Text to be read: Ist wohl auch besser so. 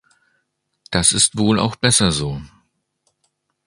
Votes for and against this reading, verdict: 0, 2, rejected